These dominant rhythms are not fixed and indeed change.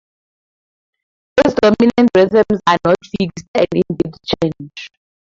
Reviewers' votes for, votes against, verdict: 2, 4, rejected